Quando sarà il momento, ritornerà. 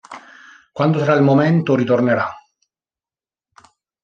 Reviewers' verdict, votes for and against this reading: rejected, 1, 2